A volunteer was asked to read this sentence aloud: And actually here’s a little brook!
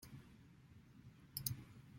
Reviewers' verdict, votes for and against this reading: rejected, 0, 2